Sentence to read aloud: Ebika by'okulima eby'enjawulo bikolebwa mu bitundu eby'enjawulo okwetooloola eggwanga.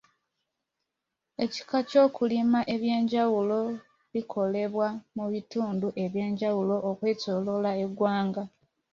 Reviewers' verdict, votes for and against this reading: rejected, 0, 2